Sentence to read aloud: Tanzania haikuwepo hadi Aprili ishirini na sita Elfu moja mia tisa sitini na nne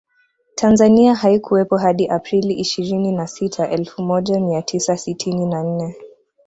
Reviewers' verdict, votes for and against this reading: accepted, 2, 0